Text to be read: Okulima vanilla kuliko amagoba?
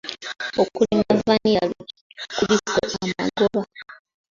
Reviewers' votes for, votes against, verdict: 0, 2, rejected